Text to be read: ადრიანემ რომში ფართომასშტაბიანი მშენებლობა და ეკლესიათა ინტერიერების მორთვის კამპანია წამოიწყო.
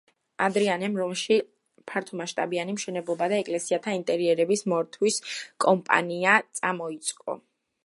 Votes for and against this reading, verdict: 1, 2, rejected